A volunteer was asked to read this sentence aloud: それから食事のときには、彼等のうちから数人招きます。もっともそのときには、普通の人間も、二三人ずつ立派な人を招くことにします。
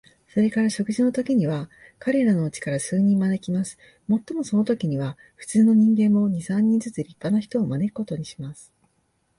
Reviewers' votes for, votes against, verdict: 1, 2, rejected